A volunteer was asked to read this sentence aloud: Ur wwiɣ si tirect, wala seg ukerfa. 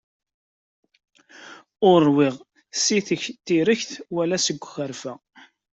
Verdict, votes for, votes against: rejected, 0, 2